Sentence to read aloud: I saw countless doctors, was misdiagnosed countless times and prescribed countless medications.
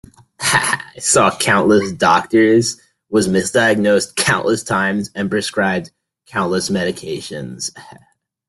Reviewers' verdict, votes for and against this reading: rejected, 1, 2